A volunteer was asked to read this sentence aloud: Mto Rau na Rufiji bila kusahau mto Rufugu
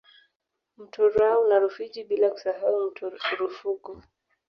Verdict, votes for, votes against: rejected, 1, 2